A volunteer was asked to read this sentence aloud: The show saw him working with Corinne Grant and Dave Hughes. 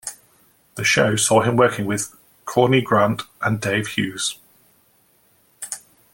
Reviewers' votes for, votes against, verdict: 2, 0, accepted